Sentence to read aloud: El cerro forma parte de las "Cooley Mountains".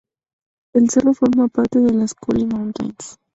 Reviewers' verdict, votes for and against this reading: rejected, 0, 4